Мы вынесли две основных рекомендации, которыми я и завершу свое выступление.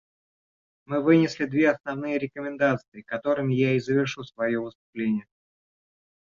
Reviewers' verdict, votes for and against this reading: rejected, 0, 3